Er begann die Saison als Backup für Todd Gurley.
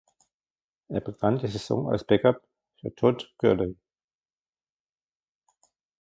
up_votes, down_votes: 2, 0